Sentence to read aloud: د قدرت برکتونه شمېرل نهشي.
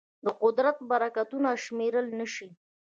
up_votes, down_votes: 1, 2